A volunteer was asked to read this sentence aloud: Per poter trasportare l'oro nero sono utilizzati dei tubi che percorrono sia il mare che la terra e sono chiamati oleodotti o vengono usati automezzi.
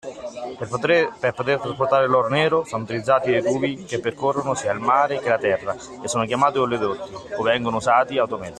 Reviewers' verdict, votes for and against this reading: rejected, 0, 2